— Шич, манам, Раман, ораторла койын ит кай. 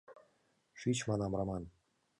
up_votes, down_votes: 0, 2